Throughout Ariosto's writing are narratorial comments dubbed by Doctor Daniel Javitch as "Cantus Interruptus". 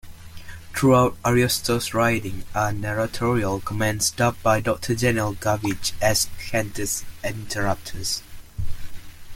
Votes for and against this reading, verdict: 1, 2, rejected